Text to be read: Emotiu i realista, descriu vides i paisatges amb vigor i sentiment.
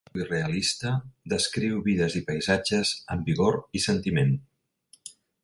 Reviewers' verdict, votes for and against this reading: rejected, 0, 2